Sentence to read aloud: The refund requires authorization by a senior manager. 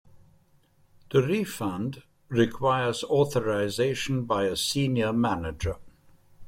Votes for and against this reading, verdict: 2, 0, accepted